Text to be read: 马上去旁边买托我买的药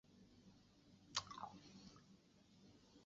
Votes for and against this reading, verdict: 3, 5, rejected